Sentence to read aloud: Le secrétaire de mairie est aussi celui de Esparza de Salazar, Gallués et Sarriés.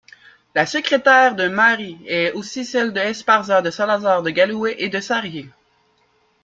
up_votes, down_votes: 0, 2